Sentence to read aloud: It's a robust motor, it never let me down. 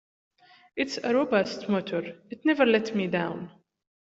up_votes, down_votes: 2, 0